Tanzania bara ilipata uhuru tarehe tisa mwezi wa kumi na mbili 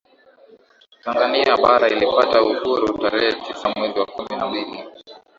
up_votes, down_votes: 2, 0